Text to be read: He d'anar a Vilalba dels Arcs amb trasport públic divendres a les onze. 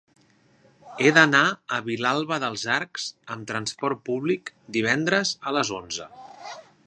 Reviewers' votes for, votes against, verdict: 2, 0, accepted